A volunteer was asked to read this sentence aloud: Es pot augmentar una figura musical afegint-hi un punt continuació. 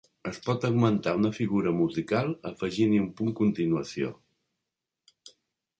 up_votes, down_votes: 3, 0